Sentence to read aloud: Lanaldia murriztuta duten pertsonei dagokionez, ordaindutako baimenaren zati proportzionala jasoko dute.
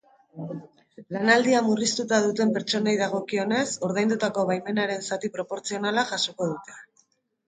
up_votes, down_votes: 0, 2